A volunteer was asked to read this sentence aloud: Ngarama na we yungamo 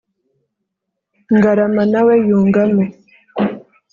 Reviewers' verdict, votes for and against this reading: accepted, 3, 0